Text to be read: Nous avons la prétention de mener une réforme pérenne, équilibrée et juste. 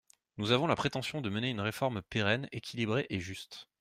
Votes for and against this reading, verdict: 2, 0, accepted